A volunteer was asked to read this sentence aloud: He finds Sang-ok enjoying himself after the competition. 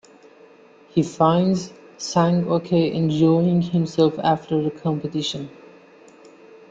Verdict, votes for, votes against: accepted, 2, 1